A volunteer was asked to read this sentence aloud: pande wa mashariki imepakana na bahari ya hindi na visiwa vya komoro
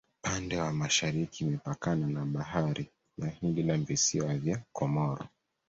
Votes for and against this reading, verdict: 2, 0, accepted